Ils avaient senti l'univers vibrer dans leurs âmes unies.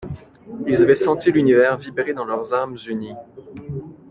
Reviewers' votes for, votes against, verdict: 0, 2, rejected